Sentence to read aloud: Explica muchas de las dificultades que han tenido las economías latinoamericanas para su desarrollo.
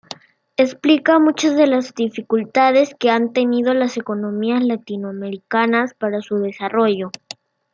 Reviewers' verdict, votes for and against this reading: accepted, 2, 0